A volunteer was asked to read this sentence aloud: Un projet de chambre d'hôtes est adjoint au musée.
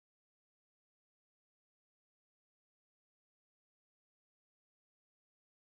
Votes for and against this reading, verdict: 0, 2, rejected